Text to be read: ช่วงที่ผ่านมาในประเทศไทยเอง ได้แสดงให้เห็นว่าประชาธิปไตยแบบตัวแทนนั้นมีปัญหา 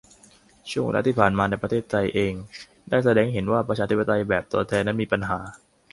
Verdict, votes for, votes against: rejected, 0, 2